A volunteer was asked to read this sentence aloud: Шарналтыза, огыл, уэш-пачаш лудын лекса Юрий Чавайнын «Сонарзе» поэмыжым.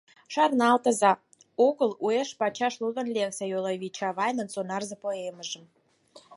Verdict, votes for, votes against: accepted, 6, 4